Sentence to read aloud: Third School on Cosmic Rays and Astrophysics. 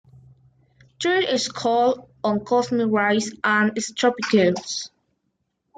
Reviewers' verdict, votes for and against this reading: rejected, 0, 2